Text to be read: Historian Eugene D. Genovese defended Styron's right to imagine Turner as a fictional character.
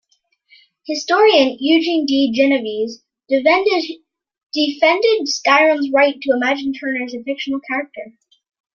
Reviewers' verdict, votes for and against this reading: rejected, 1, 2